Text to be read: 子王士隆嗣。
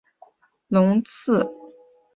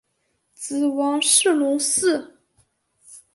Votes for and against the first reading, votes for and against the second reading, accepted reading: 0, 2, 2, 0, second